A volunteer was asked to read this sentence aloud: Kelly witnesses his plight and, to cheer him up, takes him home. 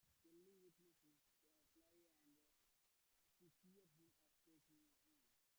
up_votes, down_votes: 1, 2